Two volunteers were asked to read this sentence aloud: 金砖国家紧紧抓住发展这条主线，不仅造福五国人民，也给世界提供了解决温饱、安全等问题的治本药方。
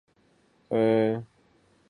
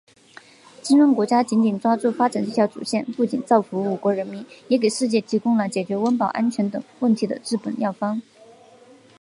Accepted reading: second